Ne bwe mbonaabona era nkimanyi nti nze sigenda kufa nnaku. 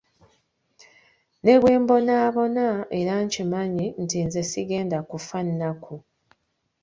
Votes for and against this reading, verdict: 1, 3, rejected